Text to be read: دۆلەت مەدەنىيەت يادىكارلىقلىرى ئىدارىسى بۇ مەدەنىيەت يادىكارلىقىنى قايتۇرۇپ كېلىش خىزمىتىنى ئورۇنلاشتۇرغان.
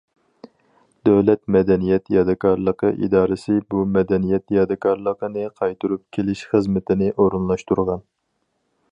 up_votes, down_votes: 0, 4